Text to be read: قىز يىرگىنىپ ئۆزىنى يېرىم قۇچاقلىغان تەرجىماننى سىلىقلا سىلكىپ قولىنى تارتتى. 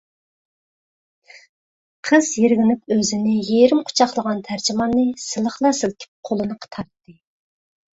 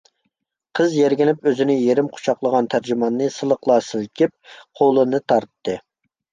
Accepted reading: second